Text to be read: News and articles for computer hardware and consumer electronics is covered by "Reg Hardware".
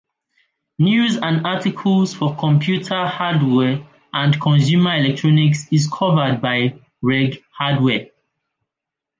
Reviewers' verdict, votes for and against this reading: accepted, 2, 1